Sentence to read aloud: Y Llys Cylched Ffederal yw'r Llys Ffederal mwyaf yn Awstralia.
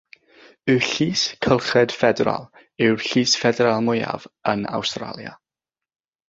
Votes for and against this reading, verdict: 0, 3, rejected